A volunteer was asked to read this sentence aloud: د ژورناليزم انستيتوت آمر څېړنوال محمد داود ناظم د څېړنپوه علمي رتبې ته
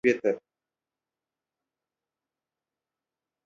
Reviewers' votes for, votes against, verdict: 0, 2, rejected